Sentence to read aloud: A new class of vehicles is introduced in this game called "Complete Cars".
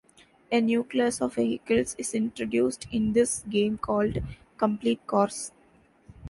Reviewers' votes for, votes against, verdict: 2, 0, accepted